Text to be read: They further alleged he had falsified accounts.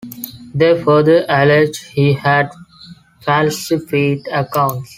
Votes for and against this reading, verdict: 1, 2, rejected